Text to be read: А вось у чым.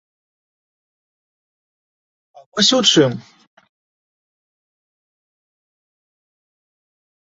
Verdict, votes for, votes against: rejected, 0, 2